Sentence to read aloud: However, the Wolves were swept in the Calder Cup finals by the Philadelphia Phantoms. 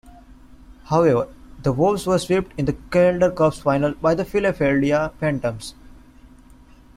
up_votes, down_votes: 1, 2